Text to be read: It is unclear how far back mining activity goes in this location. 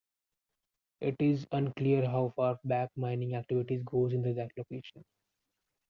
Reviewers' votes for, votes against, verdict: 0, 2, rejected